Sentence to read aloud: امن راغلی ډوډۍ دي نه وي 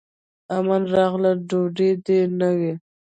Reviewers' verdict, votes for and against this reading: rejected, 0, 2